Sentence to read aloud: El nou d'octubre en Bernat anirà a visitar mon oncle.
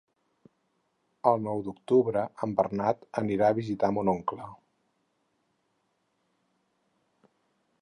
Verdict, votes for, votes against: accepted, 6, 0